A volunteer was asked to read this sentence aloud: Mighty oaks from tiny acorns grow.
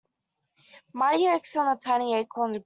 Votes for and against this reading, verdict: 0, 2, rejected